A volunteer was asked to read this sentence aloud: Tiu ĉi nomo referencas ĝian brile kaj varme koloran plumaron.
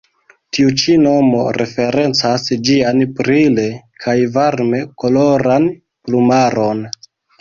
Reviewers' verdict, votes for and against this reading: accepted, 2, 0